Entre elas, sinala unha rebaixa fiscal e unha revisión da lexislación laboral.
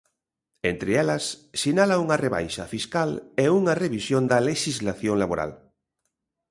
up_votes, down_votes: 2, 0